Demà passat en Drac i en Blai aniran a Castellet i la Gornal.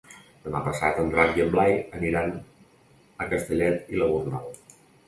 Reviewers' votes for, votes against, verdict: 2, 0, accepted